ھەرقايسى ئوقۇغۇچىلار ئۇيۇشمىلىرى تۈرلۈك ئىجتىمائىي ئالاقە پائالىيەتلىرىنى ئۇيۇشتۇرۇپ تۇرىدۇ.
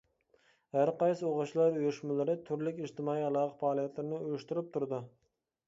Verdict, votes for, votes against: rejected, 0, 2